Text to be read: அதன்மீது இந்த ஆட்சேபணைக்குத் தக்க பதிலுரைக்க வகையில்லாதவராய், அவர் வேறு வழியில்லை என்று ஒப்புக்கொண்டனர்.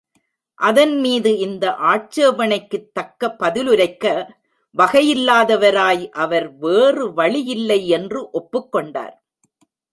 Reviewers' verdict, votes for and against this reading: rejected, 1, 2